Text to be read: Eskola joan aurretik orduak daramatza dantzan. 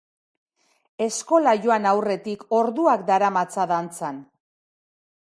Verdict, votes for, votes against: accepted, 2, 0